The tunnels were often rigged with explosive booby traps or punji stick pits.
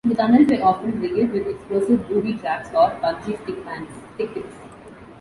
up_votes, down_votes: 0, 2